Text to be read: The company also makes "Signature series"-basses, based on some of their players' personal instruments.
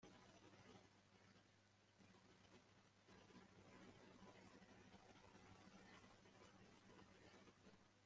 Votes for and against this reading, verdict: 1, 2, rejected